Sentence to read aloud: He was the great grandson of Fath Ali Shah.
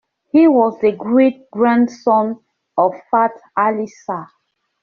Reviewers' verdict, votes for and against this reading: accepted, 2, 0